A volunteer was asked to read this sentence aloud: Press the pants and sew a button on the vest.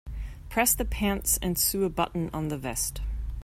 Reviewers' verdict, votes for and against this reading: rejected, 1, 2